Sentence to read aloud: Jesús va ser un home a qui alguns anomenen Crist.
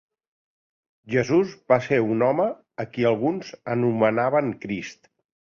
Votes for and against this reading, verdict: 1, 2, rejected